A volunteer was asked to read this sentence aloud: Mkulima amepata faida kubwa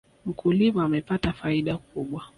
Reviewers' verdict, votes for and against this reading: accepted, 2, 0